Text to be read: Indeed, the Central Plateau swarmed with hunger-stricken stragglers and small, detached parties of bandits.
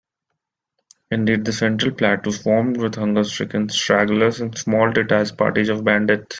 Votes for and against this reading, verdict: 2, 1, accepted